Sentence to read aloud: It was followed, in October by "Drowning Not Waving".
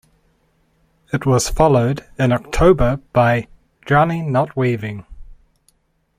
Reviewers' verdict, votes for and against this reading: accepted, 2, 0